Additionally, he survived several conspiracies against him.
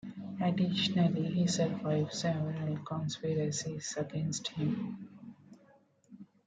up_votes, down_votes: 1, 2